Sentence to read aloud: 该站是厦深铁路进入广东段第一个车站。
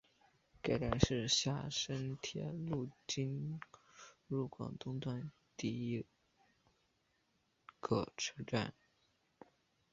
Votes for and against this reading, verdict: 5, 3, accepted